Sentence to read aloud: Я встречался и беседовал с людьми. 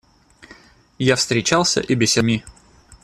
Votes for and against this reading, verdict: 0, 2, rejected